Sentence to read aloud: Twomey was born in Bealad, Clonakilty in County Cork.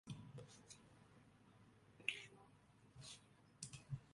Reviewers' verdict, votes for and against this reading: rejected, 0, 2